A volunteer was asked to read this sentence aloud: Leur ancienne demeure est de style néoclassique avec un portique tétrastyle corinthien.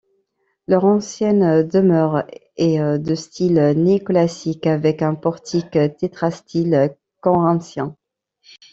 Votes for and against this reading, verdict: 1, 2, rejected